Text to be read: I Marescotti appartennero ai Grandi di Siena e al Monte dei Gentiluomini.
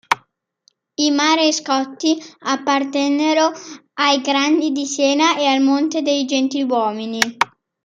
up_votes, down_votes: 2, 1